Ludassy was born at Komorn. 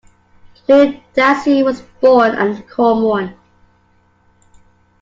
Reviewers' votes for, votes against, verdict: 3, 1, accepted